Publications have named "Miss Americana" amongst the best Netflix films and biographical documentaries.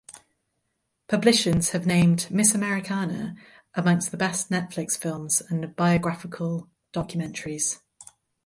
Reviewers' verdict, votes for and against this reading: rejected, 2, 2